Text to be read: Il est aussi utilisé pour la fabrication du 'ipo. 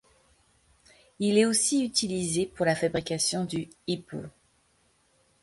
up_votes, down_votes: 1, 2